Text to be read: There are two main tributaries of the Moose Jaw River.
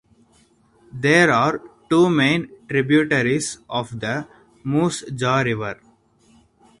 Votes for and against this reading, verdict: 4, 2, accepted